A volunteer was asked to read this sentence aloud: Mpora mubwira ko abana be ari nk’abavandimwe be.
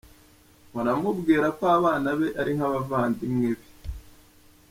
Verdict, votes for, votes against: accepted, 3, 0